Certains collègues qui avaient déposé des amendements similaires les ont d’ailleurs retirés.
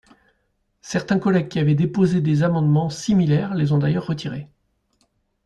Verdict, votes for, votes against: accepted, 2, 0